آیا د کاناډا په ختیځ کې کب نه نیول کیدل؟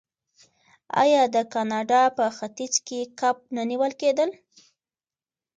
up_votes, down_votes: 2, 0